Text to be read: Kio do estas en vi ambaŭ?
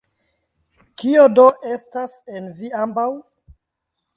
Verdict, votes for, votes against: accepted, 2, 0